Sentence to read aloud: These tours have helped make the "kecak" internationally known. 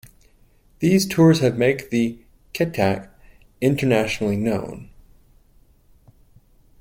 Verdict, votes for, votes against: rejected, 0, 2